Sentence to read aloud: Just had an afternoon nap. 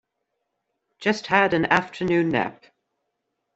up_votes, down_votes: 2, 0